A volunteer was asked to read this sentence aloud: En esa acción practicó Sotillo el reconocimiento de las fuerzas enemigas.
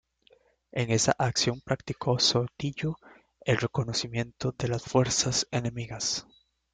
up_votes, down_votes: 0, 2